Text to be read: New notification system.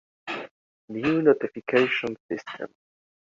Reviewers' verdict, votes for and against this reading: rejected, 1, 2